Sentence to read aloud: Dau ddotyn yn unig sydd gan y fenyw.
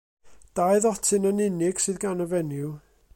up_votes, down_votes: 2, 0